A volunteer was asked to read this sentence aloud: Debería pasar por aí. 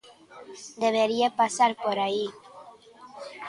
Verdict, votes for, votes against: rejected, 1, 2